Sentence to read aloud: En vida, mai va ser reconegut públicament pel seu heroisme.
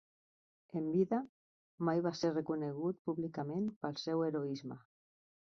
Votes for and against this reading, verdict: 2, 0, accepted